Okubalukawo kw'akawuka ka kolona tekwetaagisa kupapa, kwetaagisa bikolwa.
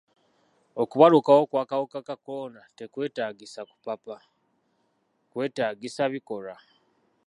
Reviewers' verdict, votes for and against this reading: accepted, 2, 0